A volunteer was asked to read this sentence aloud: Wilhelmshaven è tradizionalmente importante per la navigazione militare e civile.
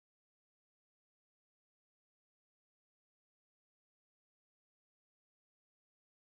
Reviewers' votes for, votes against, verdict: 0, 2, rejected